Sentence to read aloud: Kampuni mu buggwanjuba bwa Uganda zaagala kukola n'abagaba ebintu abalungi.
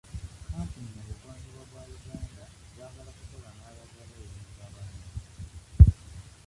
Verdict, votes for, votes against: accepted, 2, 1